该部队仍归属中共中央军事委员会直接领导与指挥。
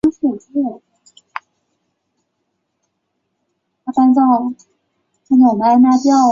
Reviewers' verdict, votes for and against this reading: rejected, 0, 5